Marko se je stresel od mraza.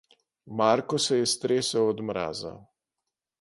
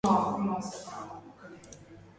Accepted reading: first